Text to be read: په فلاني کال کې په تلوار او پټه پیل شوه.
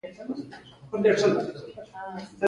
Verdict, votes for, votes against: rejected, 1, 2